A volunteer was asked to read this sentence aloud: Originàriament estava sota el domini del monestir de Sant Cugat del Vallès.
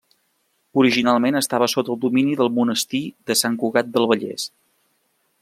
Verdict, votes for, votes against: rejected, 1, 2